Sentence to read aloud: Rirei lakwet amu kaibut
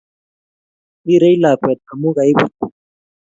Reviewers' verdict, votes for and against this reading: accepted, 2, 0